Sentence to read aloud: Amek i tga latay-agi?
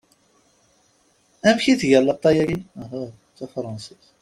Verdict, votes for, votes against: rejected, 0, 2